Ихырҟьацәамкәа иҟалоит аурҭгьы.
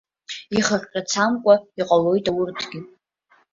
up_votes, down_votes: 1, 2